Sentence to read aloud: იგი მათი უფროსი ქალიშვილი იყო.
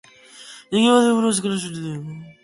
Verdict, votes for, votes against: rejected, 0, 2